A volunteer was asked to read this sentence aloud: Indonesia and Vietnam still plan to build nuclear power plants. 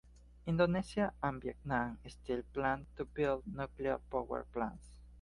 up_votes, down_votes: 2, 0